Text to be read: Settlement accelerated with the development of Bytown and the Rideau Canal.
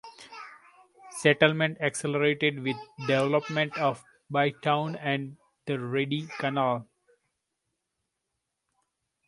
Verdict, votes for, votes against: rejected, 0, 2